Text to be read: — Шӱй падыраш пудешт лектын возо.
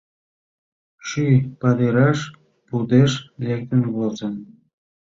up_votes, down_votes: 2, 3